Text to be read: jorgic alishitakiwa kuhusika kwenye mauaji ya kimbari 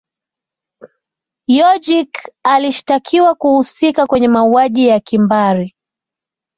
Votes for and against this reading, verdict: 2, 0, accepted